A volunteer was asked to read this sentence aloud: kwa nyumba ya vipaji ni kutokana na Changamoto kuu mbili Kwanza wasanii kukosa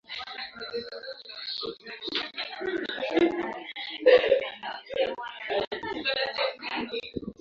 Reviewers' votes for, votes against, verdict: 0, 2, rejected